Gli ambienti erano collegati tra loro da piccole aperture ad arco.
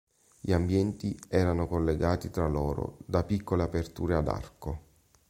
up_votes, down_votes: 2, 0